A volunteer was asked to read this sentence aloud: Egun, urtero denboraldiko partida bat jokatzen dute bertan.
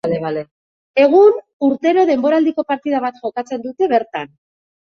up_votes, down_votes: 1, 2